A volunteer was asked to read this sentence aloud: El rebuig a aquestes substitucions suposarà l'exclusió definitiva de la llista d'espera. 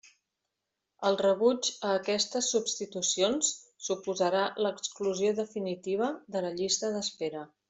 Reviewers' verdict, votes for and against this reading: accepted, 3, 0